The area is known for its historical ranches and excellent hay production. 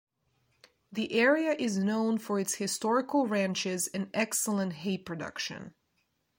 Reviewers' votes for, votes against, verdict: 2, 1, accepted